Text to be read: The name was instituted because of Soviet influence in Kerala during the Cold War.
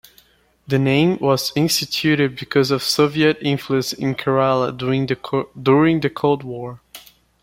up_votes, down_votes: 1, 2